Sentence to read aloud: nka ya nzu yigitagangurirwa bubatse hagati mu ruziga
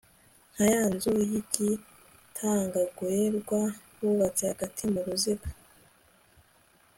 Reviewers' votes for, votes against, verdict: 2, 1, accepted